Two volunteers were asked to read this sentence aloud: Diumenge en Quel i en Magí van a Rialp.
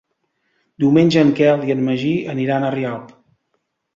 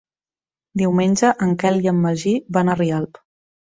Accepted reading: second